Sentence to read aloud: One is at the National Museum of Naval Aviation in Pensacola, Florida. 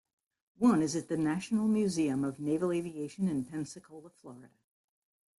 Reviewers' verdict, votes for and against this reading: rejected, 0, 2